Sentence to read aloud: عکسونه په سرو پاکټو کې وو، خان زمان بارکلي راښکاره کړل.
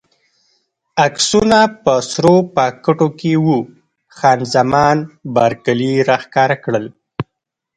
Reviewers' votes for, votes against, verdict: 1, 2, rejected